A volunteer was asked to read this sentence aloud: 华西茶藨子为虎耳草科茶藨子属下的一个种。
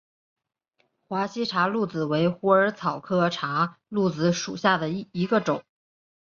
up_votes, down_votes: 2, 0